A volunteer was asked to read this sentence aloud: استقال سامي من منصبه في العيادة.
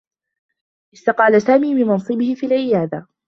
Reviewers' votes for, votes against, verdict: 2, 1, accepted